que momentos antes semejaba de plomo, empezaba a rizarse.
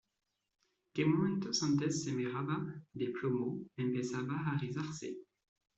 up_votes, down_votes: 1, 2